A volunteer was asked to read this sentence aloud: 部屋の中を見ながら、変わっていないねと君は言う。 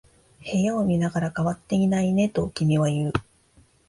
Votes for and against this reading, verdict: 2, 3, rejected